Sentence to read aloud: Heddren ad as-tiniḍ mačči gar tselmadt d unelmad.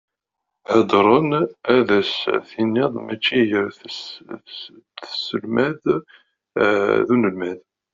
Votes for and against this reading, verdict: 0, 2, rejected